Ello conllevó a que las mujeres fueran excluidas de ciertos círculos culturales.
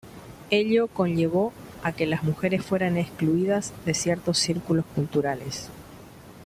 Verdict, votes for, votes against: accepted, 2, 0